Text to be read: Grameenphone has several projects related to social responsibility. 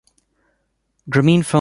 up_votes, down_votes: 0, 2